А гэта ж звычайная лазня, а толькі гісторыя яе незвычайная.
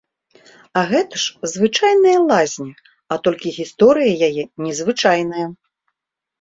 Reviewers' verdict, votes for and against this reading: accepted, 2, 0